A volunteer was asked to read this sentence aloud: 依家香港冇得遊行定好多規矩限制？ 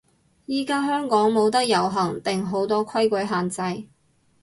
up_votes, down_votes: 2, 0